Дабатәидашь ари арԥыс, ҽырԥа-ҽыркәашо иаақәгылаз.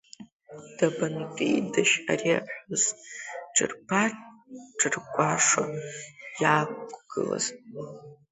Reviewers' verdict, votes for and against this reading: rejected, 0, 2